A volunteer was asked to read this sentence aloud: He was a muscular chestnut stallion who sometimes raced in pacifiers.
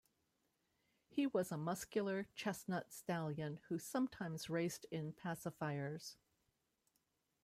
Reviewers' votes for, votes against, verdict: 2, 0, accepted